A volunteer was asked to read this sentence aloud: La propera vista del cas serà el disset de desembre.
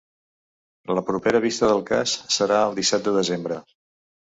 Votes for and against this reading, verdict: 0, 2, rejected